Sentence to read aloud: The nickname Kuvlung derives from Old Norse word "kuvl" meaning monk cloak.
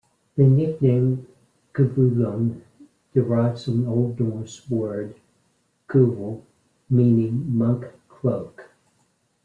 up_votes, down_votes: 2, 0